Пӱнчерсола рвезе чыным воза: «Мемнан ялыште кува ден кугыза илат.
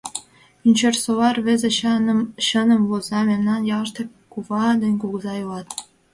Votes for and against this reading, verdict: 0, 2, rejected